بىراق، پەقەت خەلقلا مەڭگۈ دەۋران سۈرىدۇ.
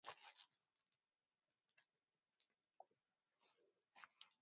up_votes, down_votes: 0, 4